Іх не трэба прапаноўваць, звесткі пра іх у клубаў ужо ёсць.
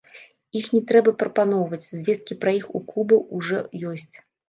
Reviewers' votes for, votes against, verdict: 1, 2, rejected